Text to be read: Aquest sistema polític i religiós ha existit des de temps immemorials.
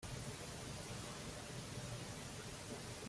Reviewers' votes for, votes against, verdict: 0, 2, rejected